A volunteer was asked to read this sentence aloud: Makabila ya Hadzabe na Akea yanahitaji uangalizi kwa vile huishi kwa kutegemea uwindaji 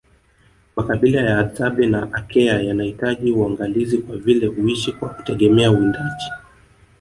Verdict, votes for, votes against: rejected, 1, 2